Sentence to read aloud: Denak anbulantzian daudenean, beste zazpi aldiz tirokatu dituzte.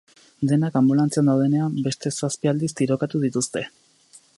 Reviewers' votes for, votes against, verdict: 2, 0, accepted